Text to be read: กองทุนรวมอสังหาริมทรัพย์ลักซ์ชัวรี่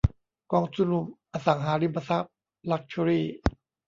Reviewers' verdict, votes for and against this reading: rejected, 0, 2